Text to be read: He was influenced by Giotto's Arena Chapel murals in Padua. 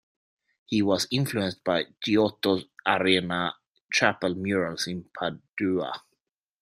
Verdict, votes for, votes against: rejected, 1, 2